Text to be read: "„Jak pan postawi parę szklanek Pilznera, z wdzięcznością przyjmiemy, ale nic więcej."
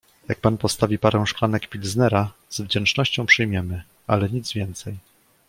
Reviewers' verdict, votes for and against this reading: accepted, 2, 1